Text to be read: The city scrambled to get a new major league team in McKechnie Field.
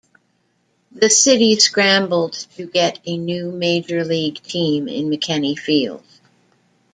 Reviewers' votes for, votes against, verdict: 2, 0, accepted